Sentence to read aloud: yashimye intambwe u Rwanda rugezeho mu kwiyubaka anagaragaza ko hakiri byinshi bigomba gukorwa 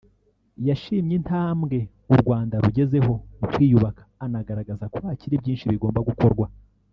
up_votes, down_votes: 0, 2